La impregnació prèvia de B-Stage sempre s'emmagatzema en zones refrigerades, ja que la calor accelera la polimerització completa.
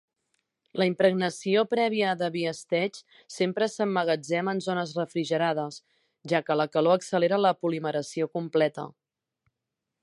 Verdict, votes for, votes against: rejected, 0, 3